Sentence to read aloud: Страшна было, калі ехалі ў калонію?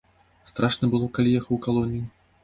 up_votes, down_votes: 0, 2